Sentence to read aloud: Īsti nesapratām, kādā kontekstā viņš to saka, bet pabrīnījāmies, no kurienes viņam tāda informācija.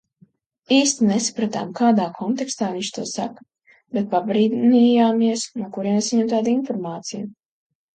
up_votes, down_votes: 2, 1